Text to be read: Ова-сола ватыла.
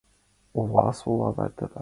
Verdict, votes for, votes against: accepted, 2, 1